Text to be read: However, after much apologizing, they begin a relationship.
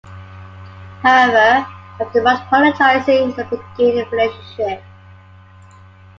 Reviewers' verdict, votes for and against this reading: rejected, 0, 2